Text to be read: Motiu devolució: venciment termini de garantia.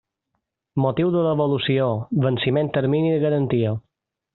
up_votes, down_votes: 2, 0